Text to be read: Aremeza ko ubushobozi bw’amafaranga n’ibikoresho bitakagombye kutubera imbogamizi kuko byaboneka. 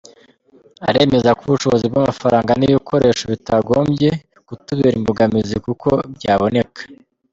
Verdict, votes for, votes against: rejected, 1, 2